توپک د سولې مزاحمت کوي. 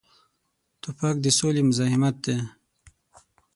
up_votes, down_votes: 0, 6